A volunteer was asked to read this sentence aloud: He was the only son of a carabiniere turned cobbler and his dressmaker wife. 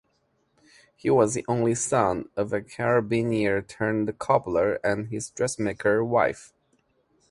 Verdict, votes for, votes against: accepted, 2, 0